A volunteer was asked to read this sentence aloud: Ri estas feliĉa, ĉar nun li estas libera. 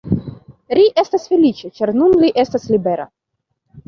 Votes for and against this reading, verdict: 1, 2, rejected